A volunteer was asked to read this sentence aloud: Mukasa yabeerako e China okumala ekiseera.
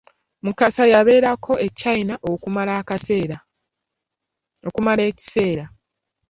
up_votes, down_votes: 0, 2